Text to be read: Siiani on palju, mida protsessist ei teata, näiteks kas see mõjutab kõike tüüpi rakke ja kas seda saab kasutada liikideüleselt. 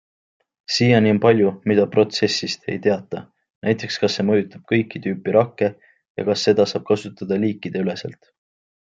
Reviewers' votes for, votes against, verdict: 2, 0, accepted